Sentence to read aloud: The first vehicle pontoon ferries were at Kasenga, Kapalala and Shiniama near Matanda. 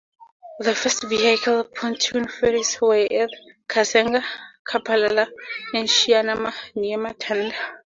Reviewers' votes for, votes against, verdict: 2, 0, accepted